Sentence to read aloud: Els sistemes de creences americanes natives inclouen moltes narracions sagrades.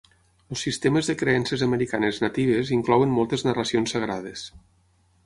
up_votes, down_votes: 3, 9